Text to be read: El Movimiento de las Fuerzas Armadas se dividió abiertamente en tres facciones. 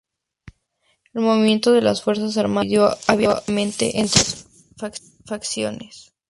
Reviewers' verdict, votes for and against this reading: rejected, 0, 2